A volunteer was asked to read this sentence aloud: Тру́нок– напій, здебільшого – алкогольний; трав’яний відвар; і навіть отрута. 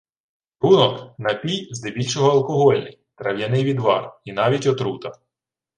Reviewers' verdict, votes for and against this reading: rejected, 0, 2